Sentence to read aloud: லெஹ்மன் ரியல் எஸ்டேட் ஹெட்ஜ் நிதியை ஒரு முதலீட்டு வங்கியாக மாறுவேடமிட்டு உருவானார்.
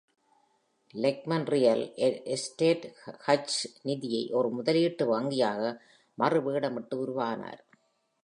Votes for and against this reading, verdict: 1, 2, rejected